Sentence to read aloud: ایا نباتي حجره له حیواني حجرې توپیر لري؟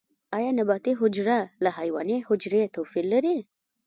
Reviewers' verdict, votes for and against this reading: rejected, 1, 2